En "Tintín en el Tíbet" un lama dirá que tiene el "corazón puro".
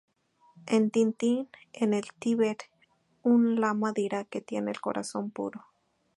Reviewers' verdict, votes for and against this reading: accepted, 2, 0